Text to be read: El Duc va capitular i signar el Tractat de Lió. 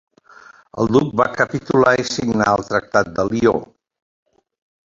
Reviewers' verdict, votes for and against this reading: accepted, 2, 1